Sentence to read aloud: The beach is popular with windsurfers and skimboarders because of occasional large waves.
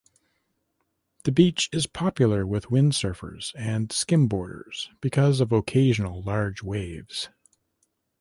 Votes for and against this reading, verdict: 5, 0, accepted